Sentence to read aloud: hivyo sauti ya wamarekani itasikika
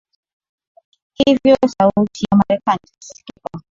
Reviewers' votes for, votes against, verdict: 4, 1, accepted